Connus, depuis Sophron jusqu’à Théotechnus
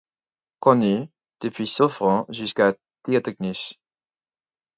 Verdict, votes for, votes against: rejected, 2, 4